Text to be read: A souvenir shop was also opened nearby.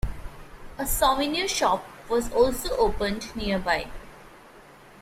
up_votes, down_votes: 0, 2